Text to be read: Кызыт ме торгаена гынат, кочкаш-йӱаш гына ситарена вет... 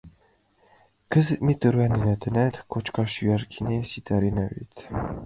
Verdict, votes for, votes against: rejected, 1, 2